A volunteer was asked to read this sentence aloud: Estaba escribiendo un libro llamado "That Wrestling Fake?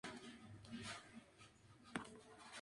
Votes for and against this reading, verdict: 2, 2, rejected